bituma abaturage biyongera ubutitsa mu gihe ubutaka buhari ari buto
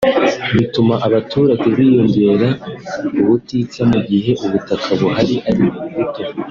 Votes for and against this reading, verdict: 2, 1, accepted